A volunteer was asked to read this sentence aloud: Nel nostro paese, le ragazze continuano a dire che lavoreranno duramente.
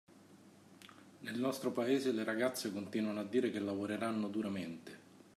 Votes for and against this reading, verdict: 2, 1, accepted